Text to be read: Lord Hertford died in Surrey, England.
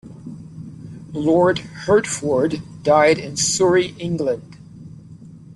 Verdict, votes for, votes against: accepted, 2, 0